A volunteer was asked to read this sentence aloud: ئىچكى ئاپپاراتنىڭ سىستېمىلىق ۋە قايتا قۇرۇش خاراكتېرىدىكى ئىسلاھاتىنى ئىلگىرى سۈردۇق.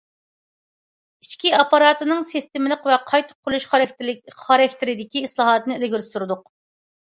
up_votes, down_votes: 0, 2